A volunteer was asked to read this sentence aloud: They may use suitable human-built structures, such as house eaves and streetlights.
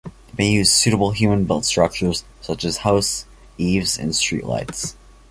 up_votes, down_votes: 0, 2